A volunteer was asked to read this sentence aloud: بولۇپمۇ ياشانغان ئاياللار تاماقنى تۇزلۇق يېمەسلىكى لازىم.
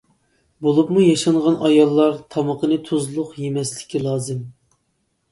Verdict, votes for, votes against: rejected, 1, 2